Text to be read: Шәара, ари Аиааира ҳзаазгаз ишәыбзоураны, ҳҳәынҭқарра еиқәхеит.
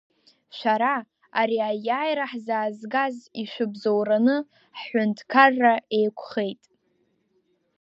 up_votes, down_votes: 2, 0